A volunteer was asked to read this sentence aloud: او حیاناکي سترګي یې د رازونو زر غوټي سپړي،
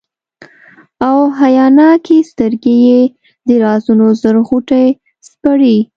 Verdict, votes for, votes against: rejected, 0, 2